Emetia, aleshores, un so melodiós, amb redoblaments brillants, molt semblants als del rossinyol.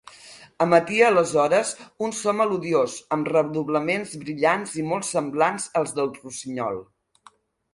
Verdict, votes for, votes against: accepted, 3, 1